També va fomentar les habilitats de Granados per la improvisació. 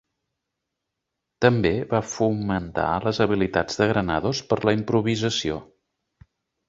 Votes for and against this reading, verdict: 2, 0, accepted